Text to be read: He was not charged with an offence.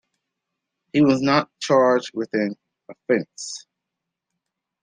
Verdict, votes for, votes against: accepted, 2, 0